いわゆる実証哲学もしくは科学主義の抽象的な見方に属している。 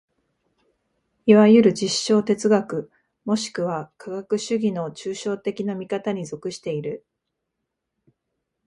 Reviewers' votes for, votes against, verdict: 2, 0, accepted